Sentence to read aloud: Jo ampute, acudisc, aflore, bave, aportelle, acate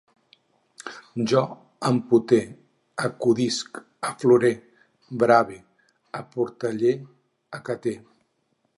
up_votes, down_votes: 4, 6